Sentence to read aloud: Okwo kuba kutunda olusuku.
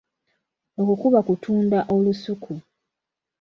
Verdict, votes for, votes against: accepted, 2, 0